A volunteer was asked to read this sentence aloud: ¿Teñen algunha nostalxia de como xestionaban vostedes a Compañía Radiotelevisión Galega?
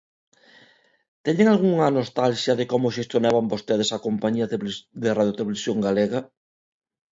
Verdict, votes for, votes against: rejected, 0, 2